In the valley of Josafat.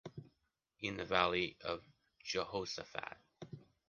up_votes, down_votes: 1, 2